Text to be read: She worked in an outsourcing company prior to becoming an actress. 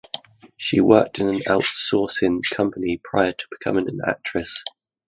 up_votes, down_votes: 2, 0